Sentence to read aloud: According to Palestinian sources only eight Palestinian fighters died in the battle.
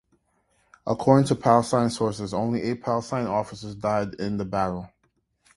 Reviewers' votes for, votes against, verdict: 1, 3, rejected